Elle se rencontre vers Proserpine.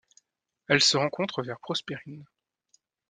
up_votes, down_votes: 0, 2